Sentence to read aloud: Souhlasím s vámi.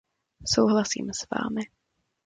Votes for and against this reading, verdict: 2, 0, accepted